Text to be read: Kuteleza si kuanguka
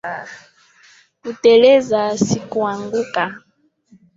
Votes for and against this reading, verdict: 0, 2, rejected